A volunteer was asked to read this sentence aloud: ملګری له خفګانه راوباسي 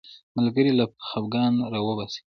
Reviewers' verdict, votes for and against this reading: rejected, 0, 3